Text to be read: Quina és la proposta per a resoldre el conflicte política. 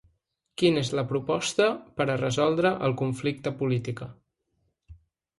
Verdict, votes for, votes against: accepted, 2, 0